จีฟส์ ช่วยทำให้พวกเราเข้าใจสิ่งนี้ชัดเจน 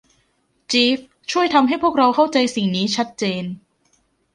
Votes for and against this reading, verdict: 2, 1, accepted